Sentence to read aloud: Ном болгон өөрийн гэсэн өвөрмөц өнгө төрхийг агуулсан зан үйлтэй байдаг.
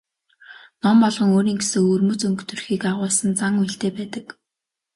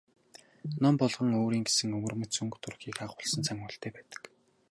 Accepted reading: first